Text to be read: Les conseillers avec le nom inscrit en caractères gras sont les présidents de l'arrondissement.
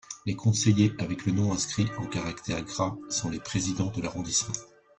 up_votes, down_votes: 2, 0